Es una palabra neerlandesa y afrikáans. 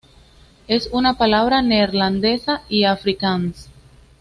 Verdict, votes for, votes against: accepted, 2, 0